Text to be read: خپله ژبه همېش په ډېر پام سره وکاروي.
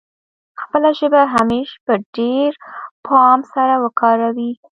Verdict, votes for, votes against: rejected, 1, 2